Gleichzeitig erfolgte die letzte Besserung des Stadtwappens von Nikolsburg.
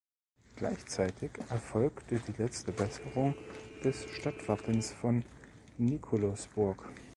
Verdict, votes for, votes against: rejected, 0, 2